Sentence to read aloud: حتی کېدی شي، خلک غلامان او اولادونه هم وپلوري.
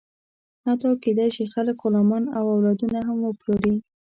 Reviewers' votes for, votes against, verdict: 2, 0, accepted